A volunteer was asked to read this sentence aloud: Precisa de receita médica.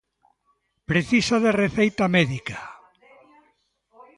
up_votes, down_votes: 2, 0